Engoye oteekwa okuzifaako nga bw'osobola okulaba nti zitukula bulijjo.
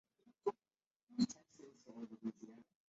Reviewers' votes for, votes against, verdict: 0, 2, rejected